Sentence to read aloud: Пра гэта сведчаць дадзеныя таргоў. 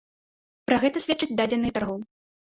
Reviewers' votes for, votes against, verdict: 1, 2, rejected